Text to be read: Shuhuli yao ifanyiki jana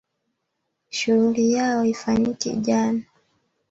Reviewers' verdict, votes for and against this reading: accepted, 2, 1